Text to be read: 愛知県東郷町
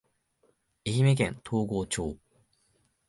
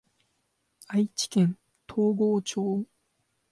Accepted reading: second